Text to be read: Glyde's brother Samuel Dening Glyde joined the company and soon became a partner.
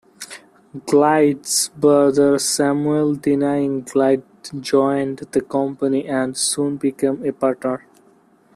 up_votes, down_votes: 0, 2